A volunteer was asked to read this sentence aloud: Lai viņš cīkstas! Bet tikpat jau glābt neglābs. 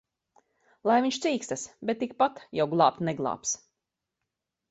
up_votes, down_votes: 2, 0